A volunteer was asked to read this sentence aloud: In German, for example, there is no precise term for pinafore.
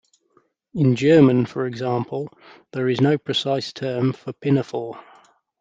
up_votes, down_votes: 2, 0